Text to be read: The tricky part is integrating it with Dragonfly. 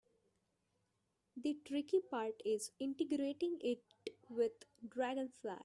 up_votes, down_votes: 0, 2